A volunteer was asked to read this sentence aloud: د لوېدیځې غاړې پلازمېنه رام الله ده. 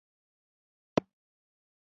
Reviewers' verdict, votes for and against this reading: rejected, 0, 2